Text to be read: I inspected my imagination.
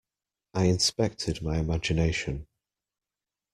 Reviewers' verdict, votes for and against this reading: accepted, 2, 0